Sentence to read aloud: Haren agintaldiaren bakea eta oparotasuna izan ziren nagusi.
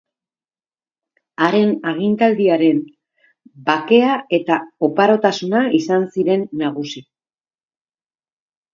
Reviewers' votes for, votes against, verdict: 2, 0, accepted